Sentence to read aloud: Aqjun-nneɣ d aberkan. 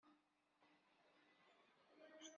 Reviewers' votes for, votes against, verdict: 1, 2, rejected